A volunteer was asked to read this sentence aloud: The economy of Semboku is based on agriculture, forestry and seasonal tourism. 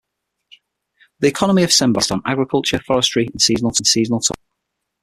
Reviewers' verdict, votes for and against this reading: rejected, 0, 6